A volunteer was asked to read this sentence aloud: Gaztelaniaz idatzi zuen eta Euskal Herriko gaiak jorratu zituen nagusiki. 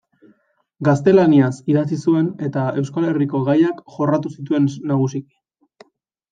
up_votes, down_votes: 2, 0